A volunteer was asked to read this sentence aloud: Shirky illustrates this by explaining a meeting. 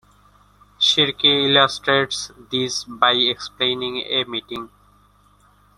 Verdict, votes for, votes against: accepted, 2, 0